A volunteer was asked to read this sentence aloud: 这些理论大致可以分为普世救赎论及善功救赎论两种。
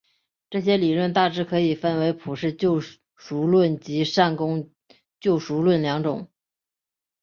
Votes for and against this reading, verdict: 3, 1, accepted